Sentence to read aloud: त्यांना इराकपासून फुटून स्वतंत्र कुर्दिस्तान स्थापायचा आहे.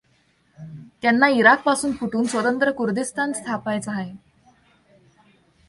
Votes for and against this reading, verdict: 2, 0, accepted